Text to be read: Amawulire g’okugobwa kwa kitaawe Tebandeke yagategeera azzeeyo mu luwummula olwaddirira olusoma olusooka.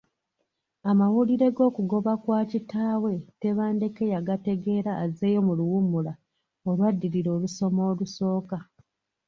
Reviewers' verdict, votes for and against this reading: rejected, 0, 2